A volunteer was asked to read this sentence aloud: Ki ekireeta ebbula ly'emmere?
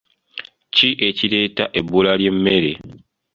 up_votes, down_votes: 2, 0